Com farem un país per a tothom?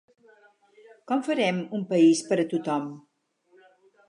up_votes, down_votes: 4, 0